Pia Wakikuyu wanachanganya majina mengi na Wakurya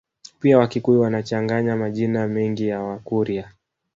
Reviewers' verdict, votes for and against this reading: rejected, 1, 2